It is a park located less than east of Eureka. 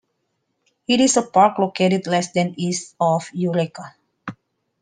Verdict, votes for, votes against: rejected, 0, 2